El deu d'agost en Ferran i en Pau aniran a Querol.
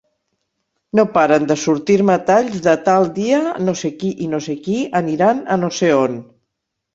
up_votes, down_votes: 2, 6